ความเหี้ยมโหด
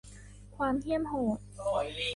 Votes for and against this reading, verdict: 1, 2, rejected